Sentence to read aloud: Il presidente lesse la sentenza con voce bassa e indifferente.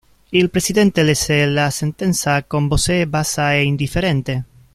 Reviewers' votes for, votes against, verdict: 0, 2, rejected